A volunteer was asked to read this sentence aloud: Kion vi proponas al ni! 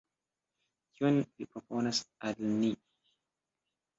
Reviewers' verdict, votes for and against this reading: rejected, 1, 2